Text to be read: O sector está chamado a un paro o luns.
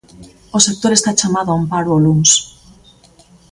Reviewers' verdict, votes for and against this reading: accepted, 2, 0